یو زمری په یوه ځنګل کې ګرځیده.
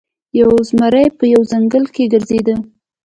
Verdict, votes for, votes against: accepted, 2, 0